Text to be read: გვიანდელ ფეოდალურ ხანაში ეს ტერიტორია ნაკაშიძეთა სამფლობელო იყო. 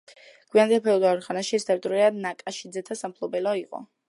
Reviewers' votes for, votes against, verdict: 1, 2, rejected